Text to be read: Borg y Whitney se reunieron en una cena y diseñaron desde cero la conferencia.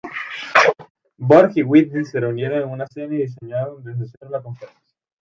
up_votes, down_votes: 0, 2